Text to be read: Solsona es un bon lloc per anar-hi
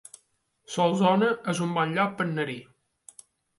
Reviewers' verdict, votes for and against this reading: rejected, 1, 2